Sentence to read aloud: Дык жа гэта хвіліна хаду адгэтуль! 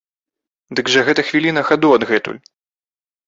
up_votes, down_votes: 3, 0